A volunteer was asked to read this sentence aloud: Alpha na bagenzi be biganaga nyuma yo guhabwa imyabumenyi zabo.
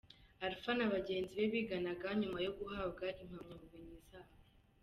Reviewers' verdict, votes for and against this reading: accepted, 2, 0